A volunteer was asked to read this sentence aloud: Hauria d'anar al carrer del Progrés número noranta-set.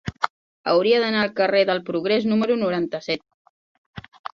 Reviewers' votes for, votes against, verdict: 4, 0, accepted